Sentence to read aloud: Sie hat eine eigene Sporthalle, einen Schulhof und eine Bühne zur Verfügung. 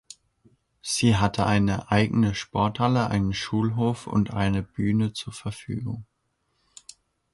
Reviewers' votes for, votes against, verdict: 0, 2, rejected